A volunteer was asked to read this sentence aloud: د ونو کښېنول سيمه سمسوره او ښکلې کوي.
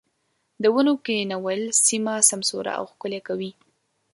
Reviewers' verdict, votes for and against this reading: accepted, 2, 0